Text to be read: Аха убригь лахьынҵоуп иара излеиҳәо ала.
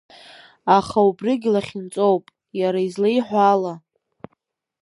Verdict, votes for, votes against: accepted, 2, 0